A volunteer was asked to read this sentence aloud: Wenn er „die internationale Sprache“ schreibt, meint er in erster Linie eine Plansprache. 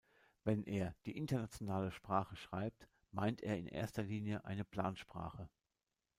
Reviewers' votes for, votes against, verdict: 0, 2, rejected